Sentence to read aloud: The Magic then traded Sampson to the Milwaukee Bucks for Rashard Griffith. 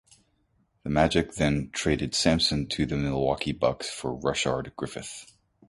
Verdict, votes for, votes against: accepted, 2, 0